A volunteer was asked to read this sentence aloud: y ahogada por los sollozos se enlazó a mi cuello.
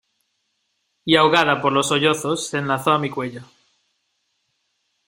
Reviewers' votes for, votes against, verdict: 2, 0, accepted